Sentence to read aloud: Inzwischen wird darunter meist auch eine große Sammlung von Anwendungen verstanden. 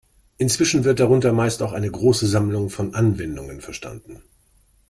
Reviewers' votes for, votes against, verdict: 2, 0, accepted